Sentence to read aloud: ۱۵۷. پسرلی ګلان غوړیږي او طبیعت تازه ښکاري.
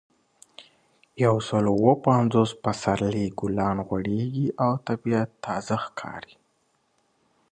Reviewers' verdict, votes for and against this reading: rejected, 0, 2